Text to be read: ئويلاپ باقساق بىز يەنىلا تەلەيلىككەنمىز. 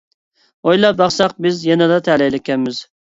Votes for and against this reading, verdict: 2, 0, accepted